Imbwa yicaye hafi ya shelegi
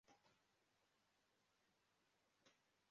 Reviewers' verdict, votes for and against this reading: rejected, 0, 2